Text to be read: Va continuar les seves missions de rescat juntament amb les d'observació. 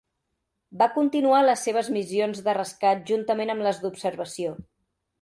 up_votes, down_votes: 3, 0